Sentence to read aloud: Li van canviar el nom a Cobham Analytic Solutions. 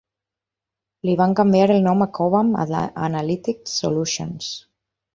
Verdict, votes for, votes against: rejected, 0, 4